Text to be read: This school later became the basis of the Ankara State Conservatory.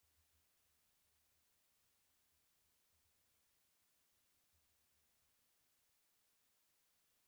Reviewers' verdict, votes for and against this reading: rejected, 0, 2